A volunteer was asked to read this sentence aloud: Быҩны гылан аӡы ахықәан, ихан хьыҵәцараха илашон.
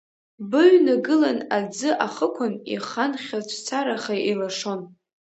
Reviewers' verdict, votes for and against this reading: rejected, 1, 2